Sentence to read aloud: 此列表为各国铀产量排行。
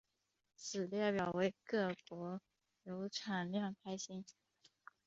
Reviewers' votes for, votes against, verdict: 4, 0, accepted